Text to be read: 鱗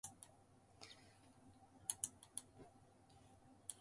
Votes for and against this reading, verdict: 0, 2, rejected